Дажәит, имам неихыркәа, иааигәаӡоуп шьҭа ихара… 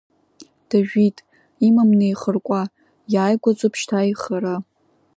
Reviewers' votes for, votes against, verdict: 0, 2, rejected